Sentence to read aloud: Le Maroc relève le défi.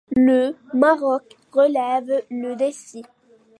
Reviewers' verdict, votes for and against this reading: rejected, 1, 2